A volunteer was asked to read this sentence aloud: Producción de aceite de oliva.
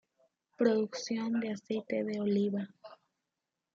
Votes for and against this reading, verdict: 0, 2, rejected